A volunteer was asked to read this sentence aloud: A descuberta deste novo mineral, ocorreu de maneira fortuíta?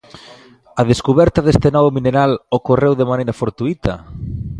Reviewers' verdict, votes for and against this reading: accepted, 2, 0